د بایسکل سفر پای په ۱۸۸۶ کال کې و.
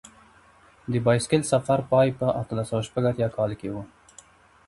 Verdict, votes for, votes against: rejected, 0, 2